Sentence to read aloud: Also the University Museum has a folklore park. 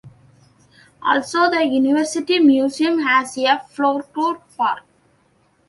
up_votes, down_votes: 1, 2